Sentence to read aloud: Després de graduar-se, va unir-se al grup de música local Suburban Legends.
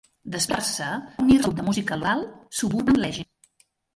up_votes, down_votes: 0, 2